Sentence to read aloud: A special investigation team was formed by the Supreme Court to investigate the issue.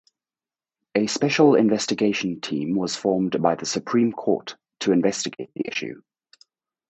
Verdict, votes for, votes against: rejected, 2, 2